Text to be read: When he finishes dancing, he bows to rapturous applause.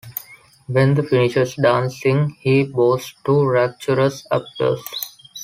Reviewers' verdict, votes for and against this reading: rejected, 1, 3